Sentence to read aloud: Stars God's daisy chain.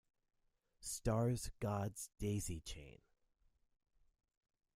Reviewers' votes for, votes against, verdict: 2, 1, accepted